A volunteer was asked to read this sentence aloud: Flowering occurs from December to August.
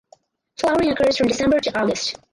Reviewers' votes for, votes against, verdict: 0, 4, rejected